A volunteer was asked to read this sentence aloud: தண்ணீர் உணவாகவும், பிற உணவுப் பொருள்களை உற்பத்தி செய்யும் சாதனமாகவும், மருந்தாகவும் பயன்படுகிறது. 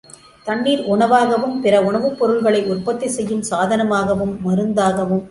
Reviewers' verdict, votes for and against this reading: rejected, 0, 2